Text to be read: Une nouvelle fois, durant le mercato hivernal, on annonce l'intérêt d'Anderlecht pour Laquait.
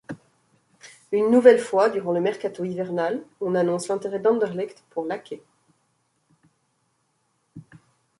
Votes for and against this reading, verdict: 2, 0, accepted